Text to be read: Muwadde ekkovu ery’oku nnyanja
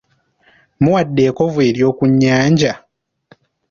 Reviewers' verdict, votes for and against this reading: accepted, 2, 1